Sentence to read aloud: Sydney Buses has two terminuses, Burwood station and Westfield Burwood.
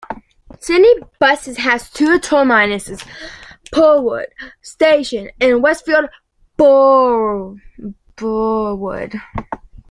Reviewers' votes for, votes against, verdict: 0, 2, rejected